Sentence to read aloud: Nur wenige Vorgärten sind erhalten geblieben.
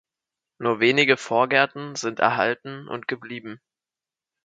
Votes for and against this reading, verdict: 2, 4, rejected